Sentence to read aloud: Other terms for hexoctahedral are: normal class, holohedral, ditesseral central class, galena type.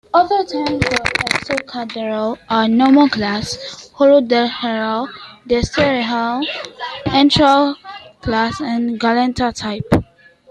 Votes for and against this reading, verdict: 1, 2, rejected